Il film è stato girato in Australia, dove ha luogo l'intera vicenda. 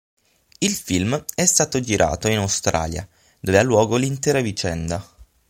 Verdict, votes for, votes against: accepted, 9, 0